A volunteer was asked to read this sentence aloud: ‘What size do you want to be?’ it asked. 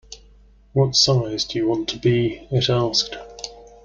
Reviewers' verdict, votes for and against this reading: accepted, 2, 0